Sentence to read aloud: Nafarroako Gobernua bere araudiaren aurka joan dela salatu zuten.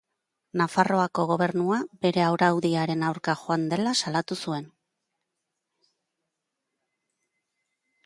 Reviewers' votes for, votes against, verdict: 0, 2, rejected